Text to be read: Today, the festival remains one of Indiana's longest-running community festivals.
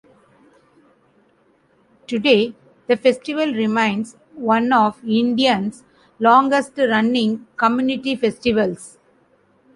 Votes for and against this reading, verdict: 0, 2, rejected